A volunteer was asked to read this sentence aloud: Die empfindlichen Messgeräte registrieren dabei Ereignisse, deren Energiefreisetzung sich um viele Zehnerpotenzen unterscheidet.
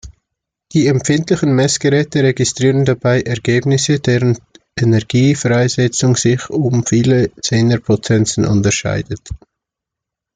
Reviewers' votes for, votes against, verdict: 0, 2, rejected